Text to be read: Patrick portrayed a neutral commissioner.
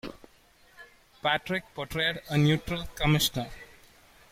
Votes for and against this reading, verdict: 2, 0, accepted